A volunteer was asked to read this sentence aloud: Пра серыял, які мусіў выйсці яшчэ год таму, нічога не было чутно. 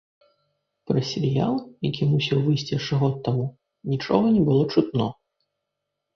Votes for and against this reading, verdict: 2, 0, accepted